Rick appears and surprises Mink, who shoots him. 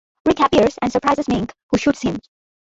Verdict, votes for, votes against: rejected, 0, 2